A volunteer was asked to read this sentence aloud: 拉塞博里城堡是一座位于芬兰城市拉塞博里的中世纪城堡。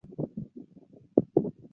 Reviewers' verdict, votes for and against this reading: rejected, 1, 5